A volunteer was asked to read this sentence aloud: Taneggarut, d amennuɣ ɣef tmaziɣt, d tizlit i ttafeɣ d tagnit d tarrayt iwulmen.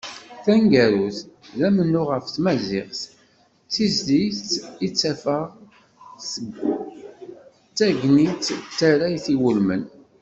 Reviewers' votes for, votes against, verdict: 1, 2, rejected